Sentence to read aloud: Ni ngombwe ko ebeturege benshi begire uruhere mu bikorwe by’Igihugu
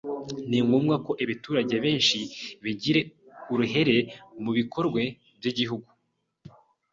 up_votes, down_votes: 1, 2